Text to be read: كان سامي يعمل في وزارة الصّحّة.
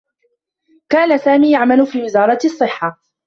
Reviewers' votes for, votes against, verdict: 1, 2, rejected